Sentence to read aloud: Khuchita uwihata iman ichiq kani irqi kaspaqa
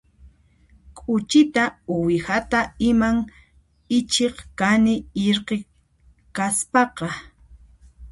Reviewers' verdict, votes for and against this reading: rejected, 0, 2